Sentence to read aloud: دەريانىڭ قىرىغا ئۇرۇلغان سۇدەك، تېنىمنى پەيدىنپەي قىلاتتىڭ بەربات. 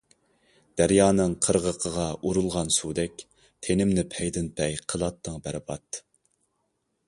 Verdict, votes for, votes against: rejected, 0, 2